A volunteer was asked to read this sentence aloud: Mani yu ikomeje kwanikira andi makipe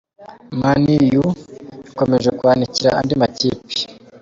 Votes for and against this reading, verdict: 2, 0, accepted